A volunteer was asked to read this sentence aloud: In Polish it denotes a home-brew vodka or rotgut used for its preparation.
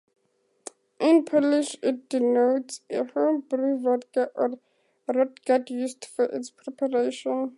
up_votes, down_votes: 4, 2